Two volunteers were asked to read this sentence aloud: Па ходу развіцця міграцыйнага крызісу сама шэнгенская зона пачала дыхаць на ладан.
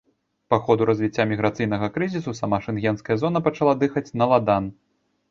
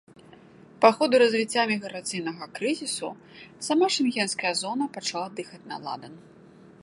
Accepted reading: second